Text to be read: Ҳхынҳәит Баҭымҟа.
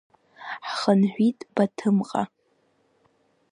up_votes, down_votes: 2, 0